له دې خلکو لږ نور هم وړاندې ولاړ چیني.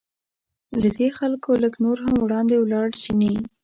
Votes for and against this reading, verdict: 2, 0, accepted